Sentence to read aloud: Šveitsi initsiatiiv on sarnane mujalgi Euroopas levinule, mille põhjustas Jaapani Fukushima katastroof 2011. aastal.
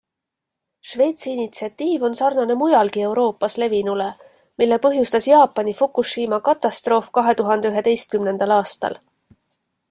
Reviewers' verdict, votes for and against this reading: rejected, 0, 2